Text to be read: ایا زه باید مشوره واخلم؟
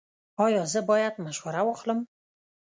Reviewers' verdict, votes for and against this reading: rejected, 1, 2